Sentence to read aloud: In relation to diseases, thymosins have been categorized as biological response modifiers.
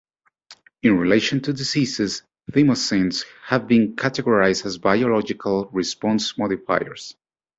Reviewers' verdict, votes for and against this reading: accepted, 2, 0